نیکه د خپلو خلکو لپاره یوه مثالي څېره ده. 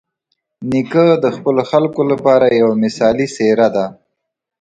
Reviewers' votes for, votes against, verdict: 2, 0, accepted